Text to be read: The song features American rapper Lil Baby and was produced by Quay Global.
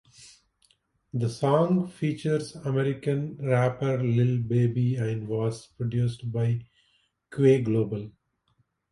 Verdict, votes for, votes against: accepted, 2, 0